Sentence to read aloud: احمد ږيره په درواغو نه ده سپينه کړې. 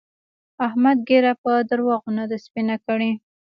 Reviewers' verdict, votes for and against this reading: accepted, 2, 0